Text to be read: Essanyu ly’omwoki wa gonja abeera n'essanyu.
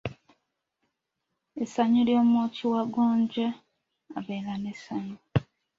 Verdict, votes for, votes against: accepted, 2, 0